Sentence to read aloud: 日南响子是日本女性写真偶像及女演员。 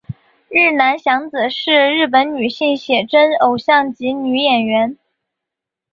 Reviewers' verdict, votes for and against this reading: accepted, 2, 0